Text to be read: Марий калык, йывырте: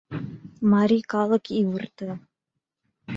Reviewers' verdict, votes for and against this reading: rejected, 1, 2